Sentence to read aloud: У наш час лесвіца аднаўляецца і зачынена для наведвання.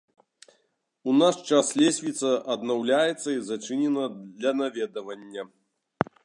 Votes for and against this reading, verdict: 0, 2, rejected